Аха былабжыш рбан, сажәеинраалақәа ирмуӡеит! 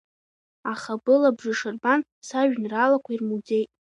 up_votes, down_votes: 2, 0